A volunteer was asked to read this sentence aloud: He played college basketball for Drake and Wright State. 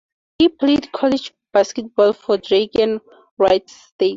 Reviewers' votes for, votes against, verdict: 2, 0, accepted